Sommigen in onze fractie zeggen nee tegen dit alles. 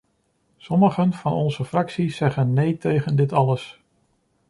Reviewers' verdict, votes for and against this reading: rejected, 1, 2